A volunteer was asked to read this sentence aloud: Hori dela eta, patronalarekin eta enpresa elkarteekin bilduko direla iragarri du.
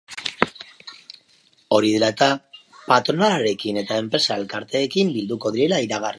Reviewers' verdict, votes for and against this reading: rejected, 0, 2